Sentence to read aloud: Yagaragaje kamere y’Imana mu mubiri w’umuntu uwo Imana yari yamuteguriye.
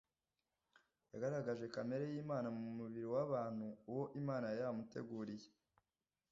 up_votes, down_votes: 1, 2